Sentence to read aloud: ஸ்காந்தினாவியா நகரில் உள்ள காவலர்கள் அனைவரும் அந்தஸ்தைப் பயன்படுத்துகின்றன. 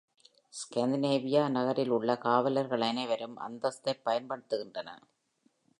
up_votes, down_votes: 0, 2